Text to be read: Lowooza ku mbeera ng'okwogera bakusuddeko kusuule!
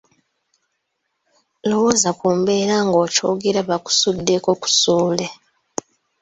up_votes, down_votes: 1, 2